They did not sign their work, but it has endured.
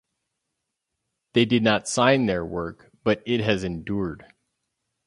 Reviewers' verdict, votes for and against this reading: accepted, 4, 0